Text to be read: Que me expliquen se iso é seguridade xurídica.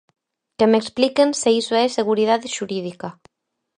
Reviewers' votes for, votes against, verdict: 4, 0, accepted